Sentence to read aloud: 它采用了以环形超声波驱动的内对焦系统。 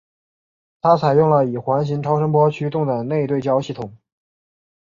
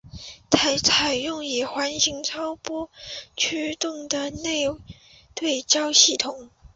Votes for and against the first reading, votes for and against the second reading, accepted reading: 3, 0, 0, 2, first